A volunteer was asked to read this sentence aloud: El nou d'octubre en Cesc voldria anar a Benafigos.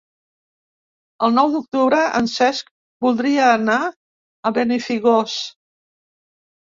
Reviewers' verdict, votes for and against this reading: rejected, 1, 2